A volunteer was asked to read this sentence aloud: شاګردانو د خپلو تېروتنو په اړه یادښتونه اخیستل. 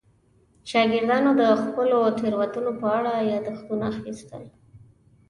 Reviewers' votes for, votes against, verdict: 2, 0, accepted